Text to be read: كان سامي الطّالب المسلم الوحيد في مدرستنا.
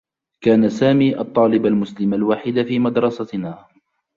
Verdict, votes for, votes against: accepted, 2, 0